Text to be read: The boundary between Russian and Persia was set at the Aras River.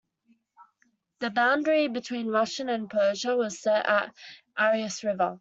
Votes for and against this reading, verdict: 1, 2, rejected